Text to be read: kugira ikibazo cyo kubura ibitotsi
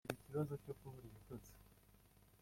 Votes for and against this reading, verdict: 0, 2, rejected